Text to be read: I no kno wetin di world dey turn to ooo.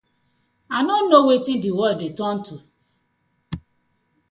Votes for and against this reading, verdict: 2, 0, accepted